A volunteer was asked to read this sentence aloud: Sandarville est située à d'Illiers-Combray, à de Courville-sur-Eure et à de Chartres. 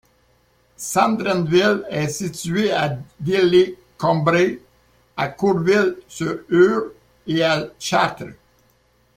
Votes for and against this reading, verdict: 0, 2, rejected